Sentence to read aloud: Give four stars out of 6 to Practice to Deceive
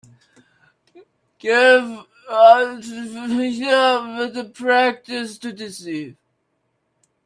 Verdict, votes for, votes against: rejected, 0, 2